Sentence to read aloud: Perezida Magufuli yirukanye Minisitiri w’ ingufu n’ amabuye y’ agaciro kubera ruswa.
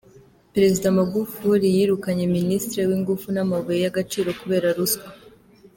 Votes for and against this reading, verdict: 2, 0, accepted